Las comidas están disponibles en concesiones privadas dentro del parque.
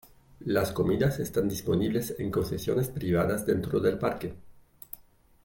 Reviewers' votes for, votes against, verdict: 2, 0, accepted